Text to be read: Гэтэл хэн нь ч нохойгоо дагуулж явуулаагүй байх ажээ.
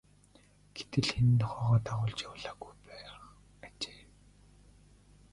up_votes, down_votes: 3, 2